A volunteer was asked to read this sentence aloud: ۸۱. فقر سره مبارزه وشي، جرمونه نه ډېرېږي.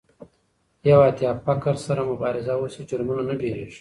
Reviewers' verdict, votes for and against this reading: rejected, 0, 2